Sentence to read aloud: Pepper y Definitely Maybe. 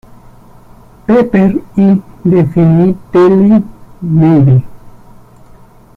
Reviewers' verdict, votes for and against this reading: rejected, 0, 2